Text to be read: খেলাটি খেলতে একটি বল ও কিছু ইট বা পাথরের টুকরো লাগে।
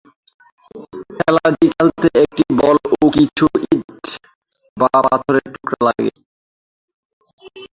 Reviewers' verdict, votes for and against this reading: rejected, 0, 2